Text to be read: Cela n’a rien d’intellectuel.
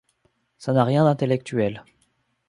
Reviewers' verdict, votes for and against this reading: rejected, 1, 2